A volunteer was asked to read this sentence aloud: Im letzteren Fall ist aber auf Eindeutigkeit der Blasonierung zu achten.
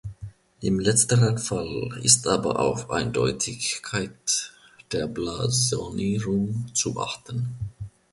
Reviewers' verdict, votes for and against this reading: rejected, 1, 3